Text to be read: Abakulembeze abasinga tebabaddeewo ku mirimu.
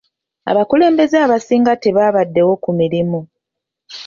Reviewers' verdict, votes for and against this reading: accepted, 2, 0